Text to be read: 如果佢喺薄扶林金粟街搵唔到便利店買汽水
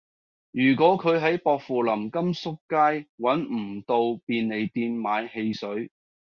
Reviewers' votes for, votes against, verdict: 2, 0, accepted